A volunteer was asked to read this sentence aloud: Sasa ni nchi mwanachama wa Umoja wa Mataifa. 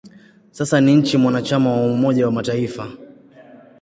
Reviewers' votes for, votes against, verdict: 2, 0, accepted